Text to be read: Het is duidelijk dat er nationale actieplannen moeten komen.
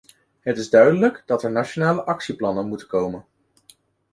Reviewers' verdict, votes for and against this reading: accepted, 2, 0